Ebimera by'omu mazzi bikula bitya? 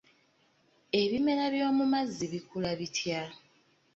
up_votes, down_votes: 2, 0